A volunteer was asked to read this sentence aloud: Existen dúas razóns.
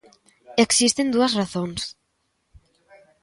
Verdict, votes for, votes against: accepted, 2, 0